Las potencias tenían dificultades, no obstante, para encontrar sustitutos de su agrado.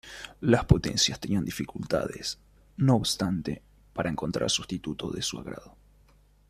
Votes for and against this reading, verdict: 1, 2, rejected